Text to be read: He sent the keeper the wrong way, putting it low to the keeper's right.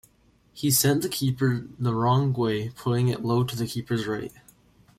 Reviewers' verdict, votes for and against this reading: accepted, 2, 0